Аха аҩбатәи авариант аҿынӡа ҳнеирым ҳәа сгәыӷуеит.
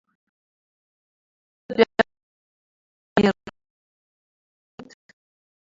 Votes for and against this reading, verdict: 0, 2, rejected